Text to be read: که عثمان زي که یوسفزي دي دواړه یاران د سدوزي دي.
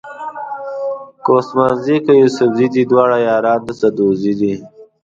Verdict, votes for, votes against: rejected, 1, 2